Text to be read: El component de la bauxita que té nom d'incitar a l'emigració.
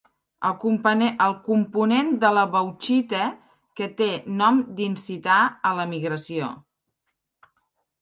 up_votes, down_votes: 2, 0